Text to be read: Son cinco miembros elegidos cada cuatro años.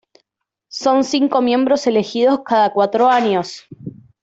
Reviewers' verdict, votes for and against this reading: accepted, 2, 0